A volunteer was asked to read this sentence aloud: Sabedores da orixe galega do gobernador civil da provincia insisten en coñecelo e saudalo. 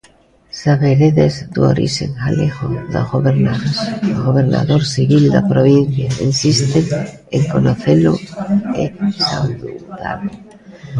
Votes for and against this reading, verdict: 0, 2, rejected